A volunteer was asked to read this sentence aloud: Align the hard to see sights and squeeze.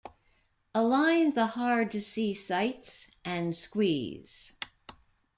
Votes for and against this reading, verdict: 2, 1, accepted